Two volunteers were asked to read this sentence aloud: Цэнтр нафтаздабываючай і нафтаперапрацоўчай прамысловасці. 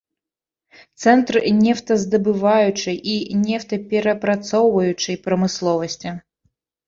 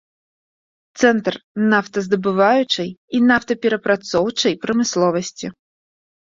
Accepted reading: second